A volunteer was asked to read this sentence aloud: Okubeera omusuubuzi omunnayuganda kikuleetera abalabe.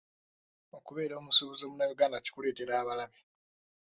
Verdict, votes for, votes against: rejected, 1, 2